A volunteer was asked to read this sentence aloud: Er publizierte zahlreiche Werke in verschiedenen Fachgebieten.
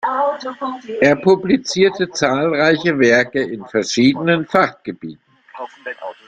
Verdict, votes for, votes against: accepted, 2, 1